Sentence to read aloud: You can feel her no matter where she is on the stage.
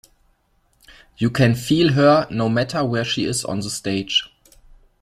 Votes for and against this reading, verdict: 2, 0, accepted